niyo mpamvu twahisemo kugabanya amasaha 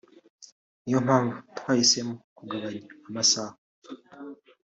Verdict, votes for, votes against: accepted, 2, 1